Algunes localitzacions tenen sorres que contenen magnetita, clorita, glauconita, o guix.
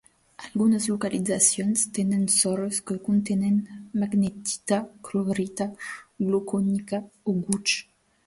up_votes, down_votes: 0, 2